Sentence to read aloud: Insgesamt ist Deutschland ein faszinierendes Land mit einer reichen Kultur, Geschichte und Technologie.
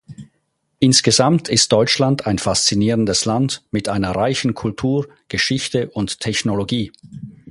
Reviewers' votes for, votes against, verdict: 4, 0, accepted